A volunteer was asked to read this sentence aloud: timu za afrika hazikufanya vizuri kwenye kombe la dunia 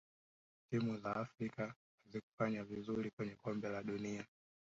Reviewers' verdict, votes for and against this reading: rejected, 0, 3